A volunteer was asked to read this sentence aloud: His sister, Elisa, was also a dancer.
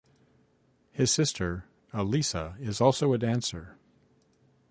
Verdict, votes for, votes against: rejected, 0, 2